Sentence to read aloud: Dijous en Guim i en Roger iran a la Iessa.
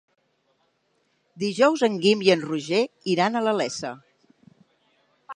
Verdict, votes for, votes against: accepted, 2, 0